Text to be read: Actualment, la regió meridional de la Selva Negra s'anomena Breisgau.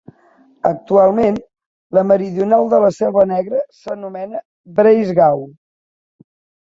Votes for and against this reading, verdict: 0, 2, rejected